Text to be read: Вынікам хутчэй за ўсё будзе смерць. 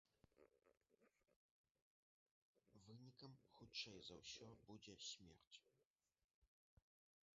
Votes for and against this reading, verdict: 0, 2, rejected